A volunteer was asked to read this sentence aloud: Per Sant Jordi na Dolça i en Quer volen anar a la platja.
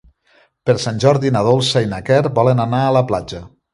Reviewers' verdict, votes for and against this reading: rejected, 1, 3